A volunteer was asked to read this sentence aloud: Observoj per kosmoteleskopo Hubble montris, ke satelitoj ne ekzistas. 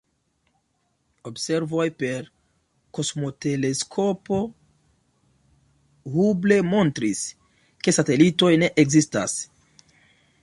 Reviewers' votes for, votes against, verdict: 0, 2, rejected